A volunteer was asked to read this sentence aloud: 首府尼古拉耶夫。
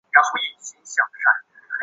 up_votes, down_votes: 2, 0